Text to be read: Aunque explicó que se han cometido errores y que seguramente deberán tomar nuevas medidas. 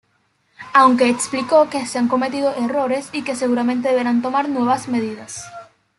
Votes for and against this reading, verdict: 2, 1, accepted